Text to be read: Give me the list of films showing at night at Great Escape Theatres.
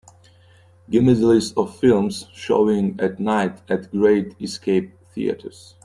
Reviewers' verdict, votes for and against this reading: accepted, 2, 0